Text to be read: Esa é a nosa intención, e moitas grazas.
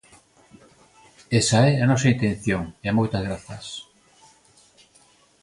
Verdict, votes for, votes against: accepted, 2, 0